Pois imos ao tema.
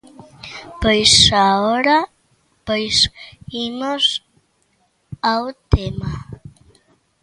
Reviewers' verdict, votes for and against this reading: rejected, 0, 2